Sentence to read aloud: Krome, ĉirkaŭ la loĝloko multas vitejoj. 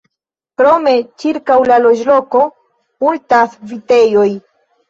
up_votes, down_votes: 2, 0